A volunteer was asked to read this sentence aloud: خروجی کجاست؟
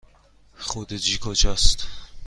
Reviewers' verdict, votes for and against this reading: accepted, 2, 0